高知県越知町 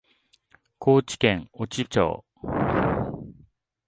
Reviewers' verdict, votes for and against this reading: accepted, 2, 0